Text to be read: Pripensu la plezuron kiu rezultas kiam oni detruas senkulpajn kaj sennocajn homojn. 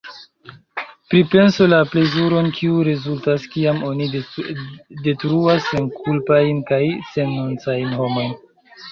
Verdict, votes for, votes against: rejected, 1, 2